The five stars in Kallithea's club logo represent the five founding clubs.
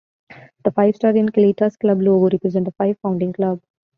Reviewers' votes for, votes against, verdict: 2, 0, accepted